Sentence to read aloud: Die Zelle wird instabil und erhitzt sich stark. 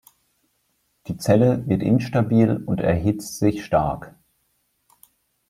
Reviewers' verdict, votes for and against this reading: accepted, 2, 0